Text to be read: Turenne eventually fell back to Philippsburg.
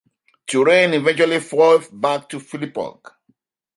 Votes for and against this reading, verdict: 1, 2, rejected